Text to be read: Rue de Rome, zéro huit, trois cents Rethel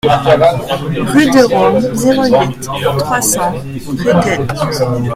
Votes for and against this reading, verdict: 1, 2, rejected